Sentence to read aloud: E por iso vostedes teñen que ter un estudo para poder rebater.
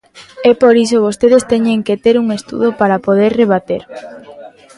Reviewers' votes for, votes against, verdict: 0, 2, rejected